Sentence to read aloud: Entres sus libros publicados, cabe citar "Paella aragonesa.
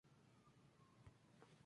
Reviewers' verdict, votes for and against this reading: rejected, 0, 4